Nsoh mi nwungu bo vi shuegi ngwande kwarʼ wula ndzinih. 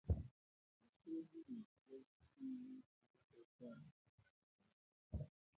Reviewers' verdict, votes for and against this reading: rejected, 0, 2